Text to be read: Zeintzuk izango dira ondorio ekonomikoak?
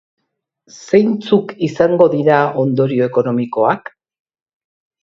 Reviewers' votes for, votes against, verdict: 2, 0, accepted